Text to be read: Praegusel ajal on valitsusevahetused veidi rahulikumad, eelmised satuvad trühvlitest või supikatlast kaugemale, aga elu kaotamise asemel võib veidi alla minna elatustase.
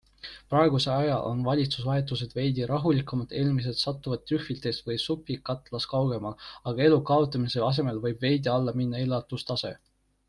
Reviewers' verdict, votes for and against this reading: rejected, 1, 2